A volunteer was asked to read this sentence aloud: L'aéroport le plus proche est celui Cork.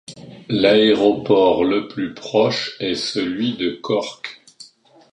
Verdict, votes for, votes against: rejected, 0, 2